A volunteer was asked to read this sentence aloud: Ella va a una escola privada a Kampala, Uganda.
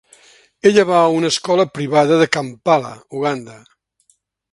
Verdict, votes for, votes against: rejected, 1, 2